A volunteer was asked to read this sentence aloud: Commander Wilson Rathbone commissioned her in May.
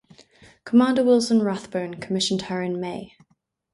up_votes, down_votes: 4, 0